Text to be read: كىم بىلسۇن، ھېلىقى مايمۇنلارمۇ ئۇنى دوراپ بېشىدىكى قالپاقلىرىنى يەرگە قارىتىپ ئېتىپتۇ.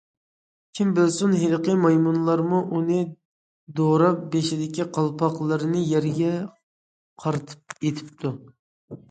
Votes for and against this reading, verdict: 2, 0, accepted